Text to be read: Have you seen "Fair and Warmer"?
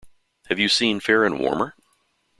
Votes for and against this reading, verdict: 2, 0, accepted